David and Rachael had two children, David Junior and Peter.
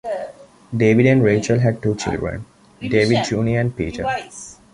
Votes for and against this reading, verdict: 2, 0, accepted